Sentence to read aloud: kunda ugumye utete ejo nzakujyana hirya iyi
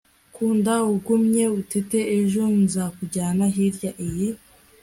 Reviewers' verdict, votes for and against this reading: accepted, 3, 0